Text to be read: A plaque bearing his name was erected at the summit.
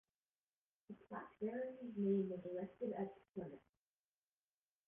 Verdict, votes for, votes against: rejected, 0, 2